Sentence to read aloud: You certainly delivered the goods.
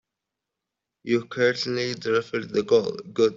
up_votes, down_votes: 0, 3